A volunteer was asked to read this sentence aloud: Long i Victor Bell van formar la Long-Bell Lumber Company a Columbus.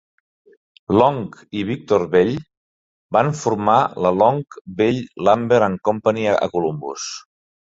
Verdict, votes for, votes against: rejected, 0, 2